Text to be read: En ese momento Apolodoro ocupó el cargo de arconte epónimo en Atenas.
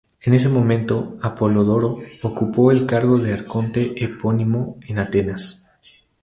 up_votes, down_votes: 2, 0